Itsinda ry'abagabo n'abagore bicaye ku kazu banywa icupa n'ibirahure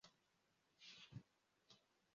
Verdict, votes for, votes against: rejected, 0, 2